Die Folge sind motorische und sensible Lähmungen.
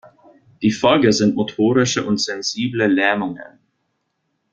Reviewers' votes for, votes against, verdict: 0, 2, rejected